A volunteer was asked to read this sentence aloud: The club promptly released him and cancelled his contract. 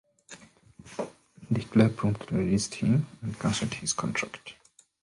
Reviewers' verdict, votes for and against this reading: rejected, 0, 2